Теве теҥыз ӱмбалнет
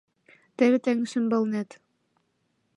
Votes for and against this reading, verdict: 2, 0, accepted